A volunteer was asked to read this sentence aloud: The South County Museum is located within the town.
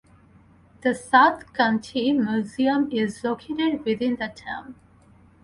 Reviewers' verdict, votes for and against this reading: rejected, 2, 2